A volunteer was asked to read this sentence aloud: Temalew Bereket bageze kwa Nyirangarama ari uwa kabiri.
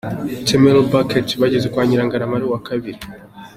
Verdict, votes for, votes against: accepted, 2, 0